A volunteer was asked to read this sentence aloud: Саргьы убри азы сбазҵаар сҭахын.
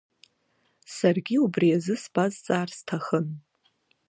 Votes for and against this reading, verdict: 2, 0, accepted